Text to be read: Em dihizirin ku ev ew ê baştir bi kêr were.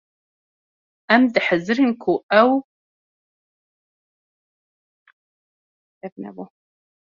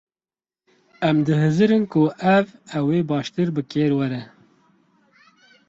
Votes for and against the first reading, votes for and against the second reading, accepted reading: 0, 2, 4, 0, second